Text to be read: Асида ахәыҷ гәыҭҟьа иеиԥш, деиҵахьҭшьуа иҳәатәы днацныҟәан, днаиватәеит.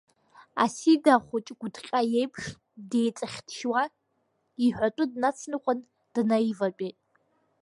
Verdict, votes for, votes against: accepted, 2, 0